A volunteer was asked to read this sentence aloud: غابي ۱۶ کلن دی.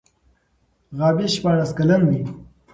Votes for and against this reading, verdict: 0, 2, rejected